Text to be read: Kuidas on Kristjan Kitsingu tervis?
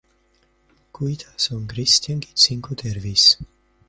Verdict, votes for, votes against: rejected, 1, 2